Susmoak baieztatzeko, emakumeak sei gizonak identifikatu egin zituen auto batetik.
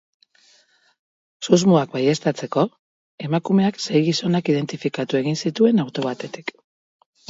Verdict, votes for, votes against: accepted, 2, 0